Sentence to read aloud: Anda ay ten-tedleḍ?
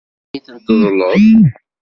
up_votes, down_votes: 1, 2